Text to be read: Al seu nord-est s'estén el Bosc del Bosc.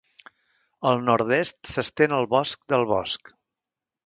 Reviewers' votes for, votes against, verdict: 0, 2, rejected